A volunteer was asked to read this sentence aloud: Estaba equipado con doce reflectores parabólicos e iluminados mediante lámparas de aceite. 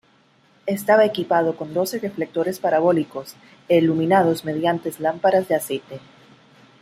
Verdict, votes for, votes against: rejected, 1, 2